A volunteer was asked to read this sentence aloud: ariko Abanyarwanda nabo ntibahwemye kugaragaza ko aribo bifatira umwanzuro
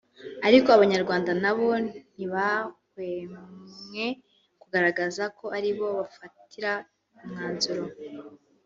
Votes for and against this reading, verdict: 1, 2, rejected